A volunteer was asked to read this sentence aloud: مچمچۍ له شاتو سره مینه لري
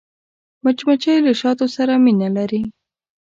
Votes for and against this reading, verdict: 2, 0, accepted